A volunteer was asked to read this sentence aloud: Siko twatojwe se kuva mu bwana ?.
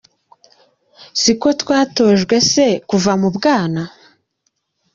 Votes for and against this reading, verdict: 2, 0, accepted